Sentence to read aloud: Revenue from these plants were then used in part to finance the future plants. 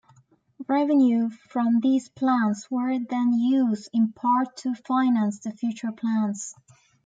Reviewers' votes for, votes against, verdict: 2, 1, accepted